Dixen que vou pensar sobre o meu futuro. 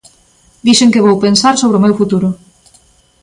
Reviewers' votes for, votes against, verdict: 2, 0, accepted